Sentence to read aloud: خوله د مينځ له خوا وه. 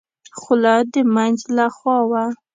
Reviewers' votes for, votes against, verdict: 2, 0, accepted